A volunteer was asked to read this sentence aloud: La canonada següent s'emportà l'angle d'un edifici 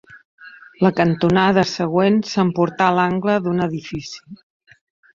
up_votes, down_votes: 0, 2